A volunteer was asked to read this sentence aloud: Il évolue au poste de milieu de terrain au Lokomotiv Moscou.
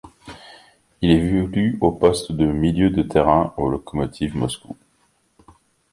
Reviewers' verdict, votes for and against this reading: rejected, 2, 3